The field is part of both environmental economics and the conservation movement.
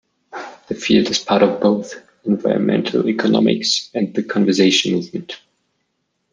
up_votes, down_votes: 0, 2